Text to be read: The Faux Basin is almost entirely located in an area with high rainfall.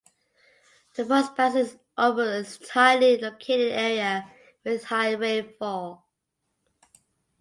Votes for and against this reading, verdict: 1, 2, rejected